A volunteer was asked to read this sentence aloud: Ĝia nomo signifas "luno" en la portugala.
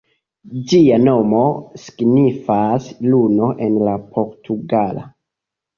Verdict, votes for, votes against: accepted, 2, 1